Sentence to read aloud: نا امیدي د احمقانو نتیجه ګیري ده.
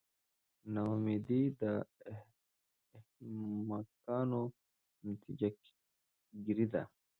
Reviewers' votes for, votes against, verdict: 2, 0, accepted